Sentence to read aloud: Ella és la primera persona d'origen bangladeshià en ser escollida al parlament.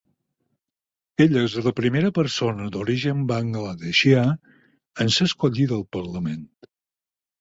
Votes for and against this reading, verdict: 4, 0, accepted